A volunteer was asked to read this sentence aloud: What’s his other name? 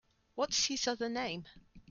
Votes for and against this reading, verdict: 2, 0, accepted